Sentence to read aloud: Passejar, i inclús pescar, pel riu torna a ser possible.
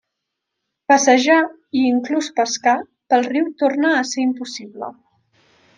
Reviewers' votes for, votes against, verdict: 0, 2, rejected